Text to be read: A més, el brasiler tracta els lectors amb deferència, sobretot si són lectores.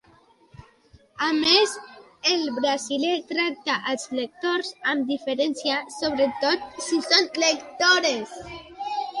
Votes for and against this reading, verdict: 0, 2, rejected